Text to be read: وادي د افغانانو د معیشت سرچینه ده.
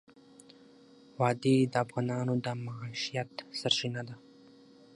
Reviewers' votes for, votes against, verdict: 6, 3, accepted